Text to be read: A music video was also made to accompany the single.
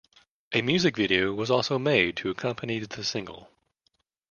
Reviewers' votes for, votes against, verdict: 2, 0, accepted